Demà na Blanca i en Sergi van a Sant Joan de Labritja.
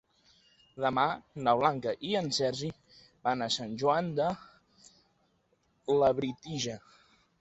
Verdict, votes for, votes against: rejected, 1, 2